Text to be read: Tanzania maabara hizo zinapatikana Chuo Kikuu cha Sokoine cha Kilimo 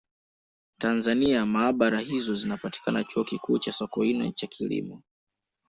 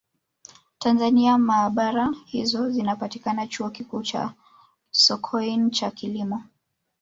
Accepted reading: first